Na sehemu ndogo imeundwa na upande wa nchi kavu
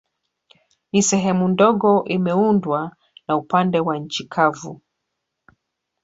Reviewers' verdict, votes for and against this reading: rejected, 0, 2